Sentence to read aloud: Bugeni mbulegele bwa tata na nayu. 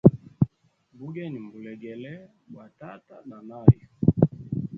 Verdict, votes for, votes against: rejected, 0, 2